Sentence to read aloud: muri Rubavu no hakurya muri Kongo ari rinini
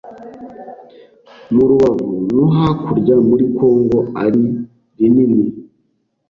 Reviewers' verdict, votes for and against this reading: rejected, 0, 2